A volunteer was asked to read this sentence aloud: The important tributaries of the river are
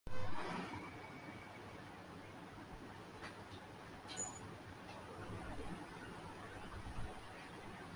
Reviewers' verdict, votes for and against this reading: rejected, 0, 4